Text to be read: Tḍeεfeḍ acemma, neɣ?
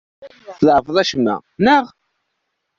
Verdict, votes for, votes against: rejected, 1, 2